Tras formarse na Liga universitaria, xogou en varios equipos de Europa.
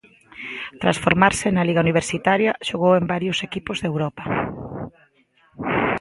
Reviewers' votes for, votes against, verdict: 2, 0, accepted